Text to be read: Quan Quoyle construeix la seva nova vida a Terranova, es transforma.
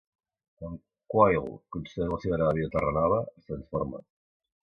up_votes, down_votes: 0, 2